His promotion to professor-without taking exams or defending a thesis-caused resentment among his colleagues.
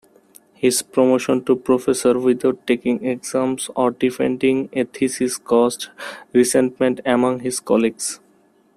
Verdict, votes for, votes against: rejected, 1, 2